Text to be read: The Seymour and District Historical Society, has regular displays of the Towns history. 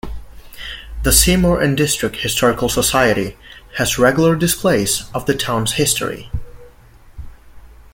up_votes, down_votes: 2, 0